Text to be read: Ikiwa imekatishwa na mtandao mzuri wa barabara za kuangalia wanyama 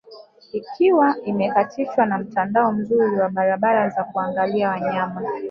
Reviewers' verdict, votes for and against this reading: accepted, 2, 0